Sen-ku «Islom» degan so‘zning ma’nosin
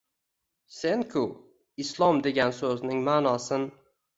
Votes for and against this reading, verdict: 1, 2, rejected